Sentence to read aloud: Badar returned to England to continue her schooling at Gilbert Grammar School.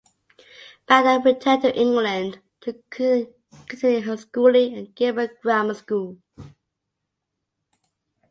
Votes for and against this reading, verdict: 0, 2, rejected